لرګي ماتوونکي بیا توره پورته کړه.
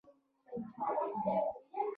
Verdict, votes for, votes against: rejected, 0, 2